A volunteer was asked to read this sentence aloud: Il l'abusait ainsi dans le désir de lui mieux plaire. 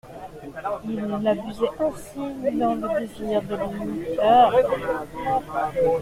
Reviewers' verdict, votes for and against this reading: rejected, 1, 2